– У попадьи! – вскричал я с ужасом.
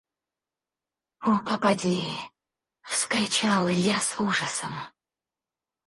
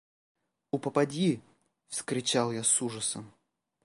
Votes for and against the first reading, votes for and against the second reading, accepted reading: 0, 4, 2, 0, second